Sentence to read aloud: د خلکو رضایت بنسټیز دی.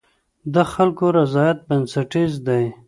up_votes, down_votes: 2, 0